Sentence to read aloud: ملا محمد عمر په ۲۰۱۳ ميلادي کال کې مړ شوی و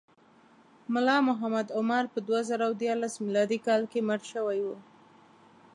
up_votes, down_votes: 0, 2